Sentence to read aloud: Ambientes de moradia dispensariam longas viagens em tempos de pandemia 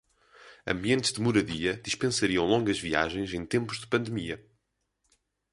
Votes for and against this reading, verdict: 10, 0, accepted